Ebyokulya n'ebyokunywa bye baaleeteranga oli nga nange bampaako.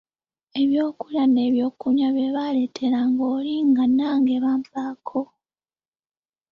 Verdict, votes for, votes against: rejected, 1, 2